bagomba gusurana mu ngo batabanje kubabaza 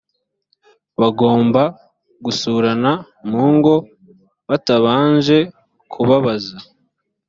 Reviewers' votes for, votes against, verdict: 2, 0, accepted